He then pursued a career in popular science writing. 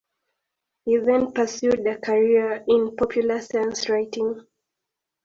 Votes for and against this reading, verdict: 4, 0, accepted